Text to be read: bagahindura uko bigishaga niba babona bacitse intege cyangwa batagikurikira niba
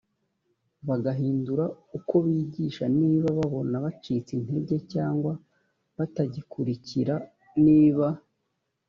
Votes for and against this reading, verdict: 0, 2, rejected